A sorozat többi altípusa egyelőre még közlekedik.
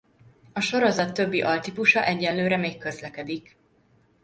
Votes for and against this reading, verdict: 2, 1, accepted